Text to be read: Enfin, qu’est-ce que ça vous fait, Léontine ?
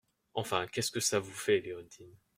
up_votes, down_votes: 2, 0